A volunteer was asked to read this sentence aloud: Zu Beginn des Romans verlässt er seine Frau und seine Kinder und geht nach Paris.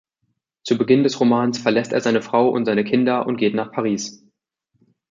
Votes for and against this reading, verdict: 2, 0, accepted